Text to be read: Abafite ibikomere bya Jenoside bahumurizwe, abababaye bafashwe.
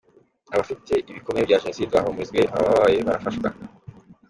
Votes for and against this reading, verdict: 2, 1, accepted